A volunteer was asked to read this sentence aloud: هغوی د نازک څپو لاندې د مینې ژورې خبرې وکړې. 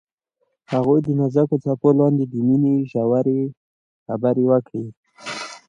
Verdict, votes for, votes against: accepted, 2, 0